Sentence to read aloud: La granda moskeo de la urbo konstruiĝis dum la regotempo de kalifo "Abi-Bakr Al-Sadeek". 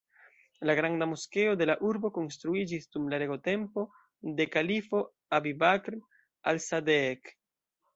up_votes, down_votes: 2, 1